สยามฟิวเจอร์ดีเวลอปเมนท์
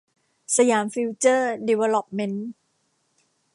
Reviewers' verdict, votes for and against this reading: accepted, 2, 0